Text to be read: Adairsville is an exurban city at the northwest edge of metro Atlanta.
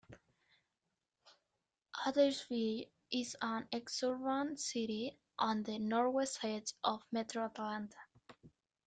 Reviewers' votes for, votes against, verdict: 1, 2, rejected